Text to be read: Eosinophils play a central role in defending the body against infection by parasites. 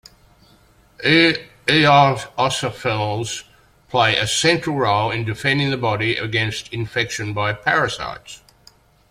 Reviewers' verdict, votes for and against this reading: rejected, 1, 2